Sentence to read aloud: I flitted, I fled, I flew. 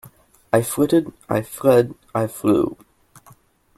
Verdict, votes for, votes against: rejected, 1, 2